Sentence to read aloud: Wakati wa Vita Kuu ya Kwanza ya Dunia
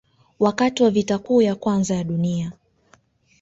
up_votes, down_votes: 0, 2